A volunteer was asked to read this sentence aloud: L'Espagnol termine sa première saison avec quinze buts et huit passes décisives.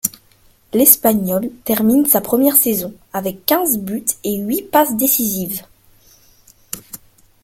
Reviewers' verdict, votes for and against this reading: accepted, 2, 0